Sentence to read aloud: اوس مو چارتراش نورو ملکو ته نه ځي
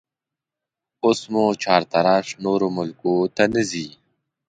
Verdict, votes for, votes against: accepted, 2, 0